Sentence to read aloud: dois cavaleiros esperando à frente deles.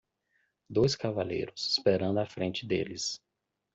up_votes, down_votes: 2, 0